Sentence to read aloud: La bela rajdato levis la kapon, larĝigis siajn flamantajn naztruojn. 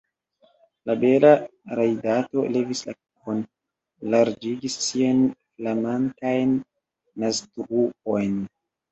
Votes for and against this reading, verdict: 0, 2, rejected